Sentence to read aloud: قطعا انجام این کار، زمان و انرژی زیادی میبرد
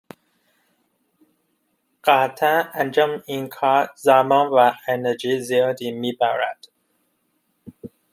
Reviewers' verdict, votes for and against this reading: accepted, 2, 0